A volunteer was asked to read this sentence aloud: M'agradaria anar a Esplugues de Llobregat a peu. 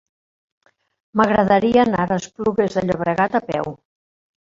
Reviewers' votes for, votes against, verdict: 1, 2, rejected